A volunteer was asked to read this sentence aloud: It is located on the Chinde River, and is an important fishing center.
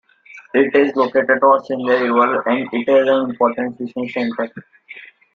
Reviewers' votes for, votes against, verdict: 0, 2, rejected